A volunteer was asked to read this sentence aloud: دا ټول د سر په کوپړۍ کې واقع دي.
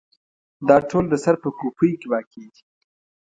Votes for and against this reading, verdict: 2, 0, accepted